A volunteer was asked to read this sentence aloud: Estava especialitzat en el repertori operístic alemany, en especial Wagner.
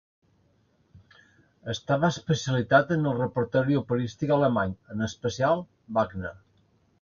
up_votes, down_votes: 0, 3